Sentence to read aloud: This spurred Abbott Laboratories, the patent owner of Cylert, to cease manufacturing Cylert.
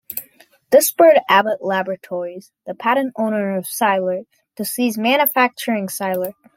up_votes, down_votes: 2, 0